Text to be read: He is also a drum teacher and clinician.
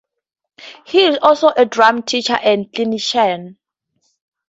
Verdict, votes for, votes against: accepted, 4, 0